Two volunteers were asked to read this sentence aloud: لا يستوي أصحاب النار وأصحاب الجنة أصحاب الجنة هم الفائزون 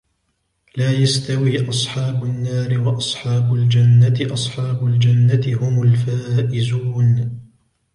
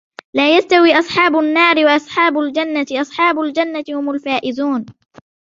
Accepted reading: first